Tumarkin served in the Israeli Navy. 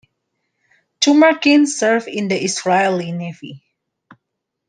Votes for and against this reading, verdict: 2, 0, accepted